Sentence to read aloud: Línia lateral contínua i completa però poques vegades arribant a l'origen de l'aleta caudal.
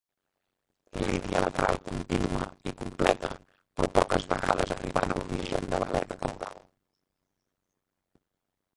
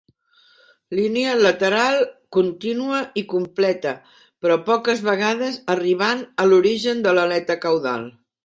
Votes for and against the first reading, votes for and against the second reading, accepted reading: 0, 3, 3, 0, second